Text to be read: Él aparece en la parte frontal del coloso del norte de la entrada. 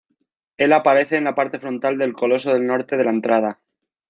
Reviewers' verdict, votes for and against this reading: accepted, 3, 0